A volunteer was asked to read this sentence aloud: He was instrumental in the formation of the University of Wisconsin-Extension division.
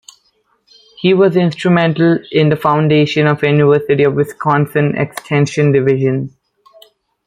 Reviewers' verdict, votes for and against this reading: rejected, 0, 2